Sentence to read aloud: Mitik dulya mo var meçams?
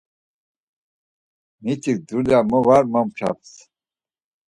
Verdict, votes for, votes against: rejected, 0, 4